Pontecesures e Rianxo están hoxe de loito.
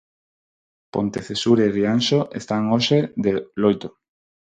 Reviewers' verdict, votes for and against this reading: rejected, 0, 4